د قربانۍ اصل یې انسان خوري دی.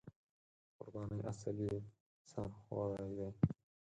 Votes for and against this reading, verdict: 0, 4, rejected